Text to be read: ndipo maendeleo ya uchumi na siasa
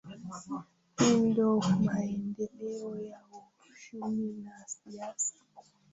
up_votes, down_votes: 0, 2